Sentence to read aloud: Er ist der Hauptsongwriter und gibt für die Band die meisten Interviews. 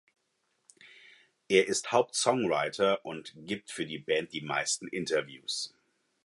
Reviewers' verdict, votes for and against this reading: rejected, 2, 4